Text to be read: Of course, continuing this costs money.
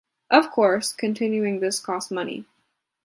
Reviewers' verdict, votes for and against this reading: accepted, 2, 0